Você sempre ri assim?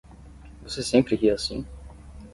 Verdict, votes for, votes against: accepted, 10, 0